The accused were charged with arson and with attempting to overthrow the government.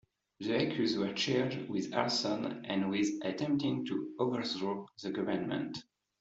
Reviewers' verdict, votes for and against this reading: accepted, 2, 0